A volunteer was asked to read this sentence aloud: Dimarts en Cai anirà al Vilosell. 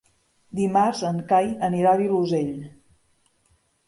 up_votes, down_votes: 3, 1